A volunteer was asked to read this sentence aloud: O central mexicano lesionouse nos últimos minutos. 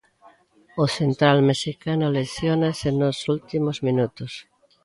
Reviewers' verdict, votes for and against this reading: rejected, 0, 2